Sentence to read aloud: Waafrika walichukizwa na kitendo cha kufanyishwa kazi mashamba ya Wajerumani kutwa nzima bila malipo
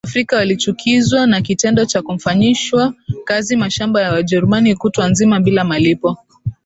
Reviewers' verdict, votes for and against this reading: rejected, 1, 2